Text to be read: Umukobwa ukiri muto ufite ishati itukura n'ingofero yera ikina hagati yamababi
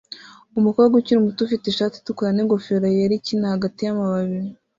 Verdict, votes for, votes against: accepted, 2, 0